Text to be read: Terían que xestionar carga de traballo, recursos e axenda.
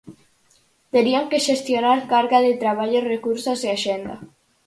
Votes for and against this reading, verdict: 4, 0, accepted